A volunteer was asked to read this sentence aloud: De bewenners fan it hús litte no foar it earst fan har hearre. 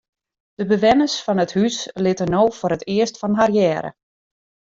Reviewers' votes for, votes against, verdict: 2, 1, accepted